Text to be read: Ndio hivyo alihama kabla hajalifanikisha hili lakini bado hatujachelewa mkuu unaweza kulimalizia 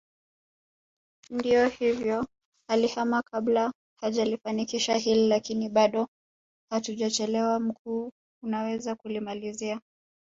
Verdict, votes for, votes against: accepted, 2, 1